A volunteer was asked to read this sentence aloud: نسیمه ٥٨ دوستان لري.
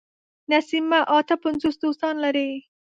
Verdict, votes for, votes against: rejected, 0, 2